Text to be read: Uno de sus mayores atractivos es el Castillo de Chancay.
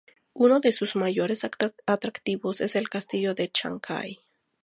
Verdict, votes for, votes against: rejected, 0, 2